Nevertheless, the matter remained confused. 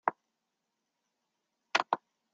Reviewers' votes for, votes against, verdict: 0, 2, rejected